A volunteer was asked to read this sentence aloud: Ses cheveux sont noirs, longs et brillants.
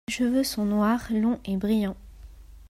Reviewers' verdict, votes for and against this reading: rejected, 1, 2